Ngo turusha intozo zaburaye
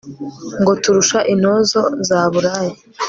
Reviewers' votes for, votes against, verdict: 2, 0, accepted